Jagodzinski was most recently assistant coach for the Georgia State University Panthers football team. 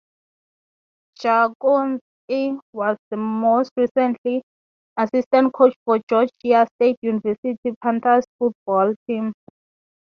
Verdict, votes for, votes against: rejected, 0, 12